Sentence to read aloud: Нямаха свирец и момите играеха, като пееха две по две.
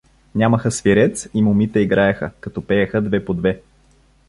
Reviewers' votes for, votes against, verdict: 2, 0, accepted